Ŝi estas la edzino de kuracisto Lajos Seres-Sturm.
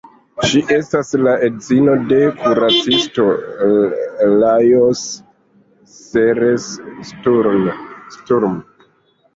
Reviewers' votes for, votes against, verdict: 0, 2, rejected